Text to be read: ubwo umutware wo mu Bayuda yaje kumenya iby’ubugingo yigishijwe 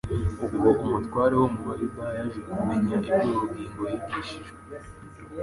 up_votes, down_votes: 2, 1